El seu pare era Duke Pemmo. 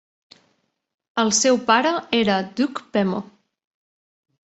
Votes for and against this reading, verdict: 2, 1, accepted